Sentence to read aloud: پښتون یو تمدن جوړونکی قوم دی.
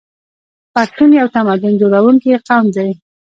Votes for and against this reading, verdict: 3, 1, accepted